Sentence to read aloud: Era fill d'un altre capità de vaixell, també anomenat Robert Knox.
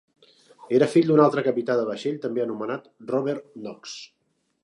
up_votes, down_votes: 3, 0